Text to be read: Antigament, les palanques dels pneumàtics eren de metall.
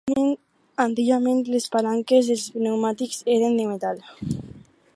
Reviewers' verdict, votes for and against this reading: rejected, 0, 4